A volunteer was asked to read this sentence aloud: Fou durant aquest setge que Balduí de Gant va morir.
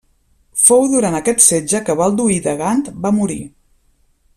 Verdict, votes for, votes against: accepted, 2, 0